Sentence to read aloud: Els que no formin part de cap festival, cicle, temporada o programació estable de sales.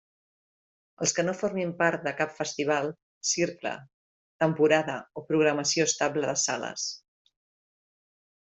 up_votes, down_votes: 1, 2